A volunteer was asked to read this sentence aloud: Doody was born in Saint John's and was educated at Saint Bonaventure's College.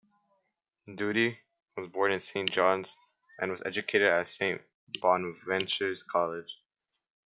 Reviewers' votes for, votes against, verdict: 2, 1, accepted